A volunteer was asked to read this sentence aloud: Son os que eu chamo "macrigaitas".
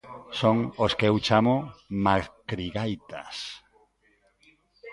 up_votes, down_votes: 2, 0